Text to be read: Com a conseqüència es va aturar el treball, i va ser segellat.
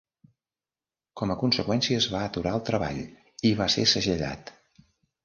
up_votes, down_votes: 3, 0